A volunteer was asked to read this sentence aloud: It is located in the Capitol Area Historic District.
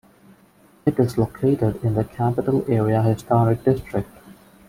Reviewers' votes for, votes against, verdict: 2, 1, accepted